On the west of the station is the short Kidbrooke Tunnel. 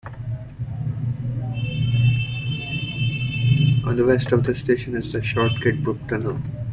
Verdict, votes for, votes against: rejected, 1, 2